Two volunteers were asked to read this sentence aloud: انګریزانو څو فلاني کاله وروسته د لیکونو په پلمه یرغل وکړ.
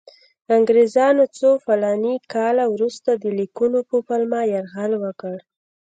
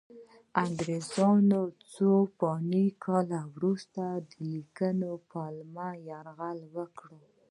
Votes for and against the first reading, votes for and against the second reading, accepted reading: 2, 0, 1, 2, first